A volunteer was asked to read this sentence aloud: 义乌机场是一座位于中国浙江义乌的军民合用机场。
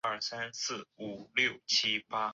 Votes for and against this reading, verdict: 0, 2, rejected